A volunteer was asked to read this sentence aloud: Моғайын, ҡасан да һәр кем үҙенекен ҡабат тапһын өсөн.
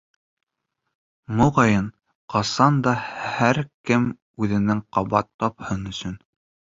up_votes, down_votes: 1, 2